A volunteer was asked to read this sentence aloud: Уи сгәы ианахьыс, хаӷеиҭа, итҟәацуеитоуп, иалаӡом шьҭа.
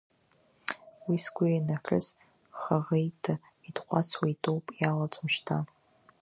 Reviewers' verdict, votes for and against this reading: rejected, 1, 2